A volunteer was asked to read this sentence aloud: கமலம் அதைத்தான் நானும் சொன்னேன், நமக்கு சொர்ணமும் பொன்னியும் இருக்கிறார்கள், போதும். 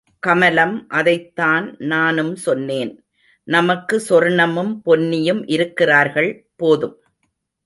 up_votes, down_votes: 2, 0